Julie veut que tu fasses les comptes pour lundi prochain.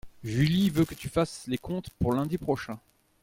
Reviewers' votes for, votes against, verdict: 2, 0, accepted